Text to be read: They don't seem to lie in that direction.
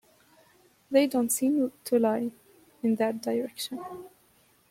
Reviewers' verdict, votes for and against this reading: accepted, 2, 0